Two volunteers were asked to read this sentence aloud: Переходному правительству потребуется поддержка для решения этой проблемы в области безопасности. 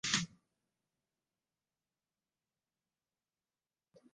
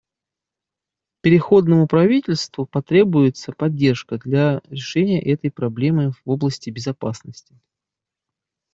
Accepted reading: second